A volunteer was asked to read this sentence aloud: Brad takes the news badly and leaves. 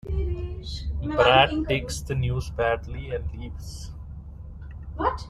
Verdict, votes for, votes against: rejected, 0, 2